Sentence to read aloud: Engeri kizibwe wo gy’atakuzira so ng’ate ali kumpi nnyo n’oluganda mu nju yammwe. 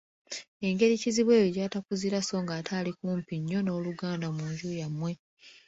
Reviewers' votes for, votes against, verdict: 2, 0, accepted